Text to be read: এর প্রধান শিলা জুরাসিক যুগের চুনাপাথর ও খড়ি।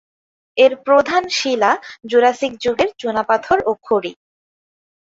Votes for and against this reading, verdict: 6, 0, accepted